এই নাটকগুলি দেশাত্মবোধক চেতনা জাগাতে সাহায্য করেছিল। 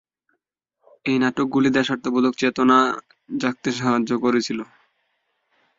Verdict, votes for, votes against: rejected, 0, 2